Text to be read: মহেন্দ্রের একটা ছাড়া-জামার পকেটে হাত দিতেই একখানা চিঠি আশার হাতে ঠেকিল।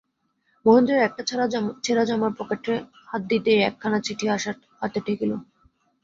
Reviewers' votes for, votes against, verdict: 0, 2, rejected